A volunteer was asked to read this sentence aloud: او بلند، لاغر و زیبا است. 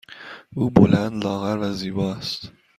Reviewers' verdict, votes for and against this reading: accepted, 2, 0